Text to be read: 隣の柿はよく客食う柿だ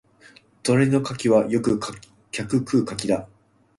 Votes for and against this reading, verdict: 2, 1, accepted